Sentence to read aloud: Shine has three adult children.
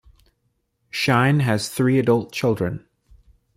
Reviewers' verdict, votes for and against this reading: accepted, 2, 0